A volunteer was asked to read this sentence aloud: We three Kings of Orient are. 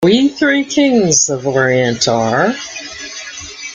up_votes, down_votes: 2, 1